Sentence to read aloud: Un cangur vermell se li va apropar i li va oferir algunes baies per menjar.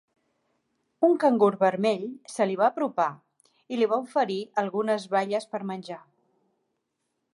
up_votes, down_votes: 5, 0